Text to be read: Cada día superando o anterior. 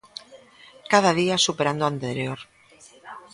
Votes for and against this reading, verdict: 1, 2, rejected